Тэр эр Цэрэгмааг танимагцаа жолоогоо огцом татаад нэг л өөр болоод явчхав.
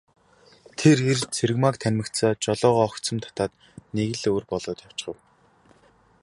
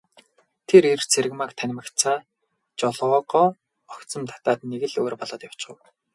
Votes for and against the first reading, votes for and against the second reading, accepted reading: 2, 0, 0, 2, first